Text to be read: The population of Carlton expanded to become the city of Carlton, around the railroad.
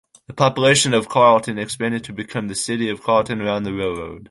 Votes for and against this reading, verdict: 0, 2, rejected